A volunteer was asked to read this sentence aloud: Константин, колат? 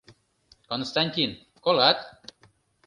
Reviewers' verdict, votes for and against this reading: accepted, 3, 0